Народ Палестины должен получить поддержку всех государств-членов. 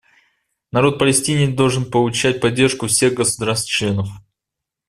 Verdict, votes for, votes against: rejected, 1, 2